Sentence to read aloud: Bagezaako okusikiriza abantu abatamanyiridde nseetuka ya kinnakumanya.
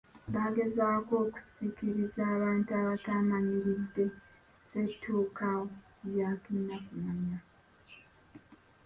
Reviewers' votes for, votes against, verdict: 0, 2, rejected